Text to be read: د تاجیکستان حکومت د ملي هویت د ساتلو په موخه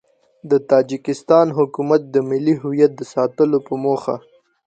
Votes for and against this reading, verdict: 2, 0, accepted